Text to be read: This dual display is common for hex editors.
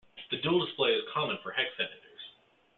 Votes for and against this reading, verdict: 1, 2, rejected